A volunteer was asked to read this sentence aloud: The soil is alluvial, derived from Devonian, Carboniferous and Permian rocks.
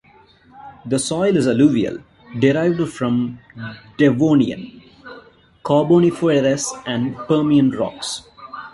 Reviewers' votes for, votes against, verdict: 2, 0, accepted